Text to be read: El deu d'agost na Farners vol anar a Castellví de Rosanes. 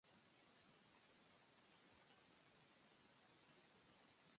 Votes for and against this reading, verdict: 1, 3, rejected